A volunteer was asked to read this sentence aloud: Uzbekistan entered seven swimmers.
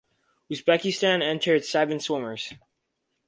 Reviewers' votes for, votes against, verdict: 4, 0, accepted